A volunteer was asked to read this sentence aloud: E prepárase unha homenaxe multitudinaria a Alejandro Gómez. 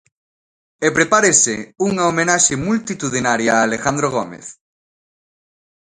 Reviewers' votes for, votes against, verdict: 0, 2, rejected